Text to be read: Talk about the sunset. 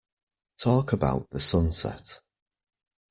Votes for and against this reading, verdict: 2, 1, accepted